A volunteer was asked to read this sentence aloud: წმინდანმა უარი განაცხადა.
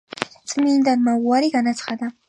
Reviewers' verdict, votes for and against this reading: accepted, 2, 0